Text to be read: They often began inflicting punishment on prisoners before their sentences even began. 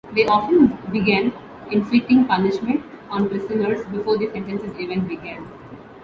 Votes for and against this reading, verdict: 2, 1, accepted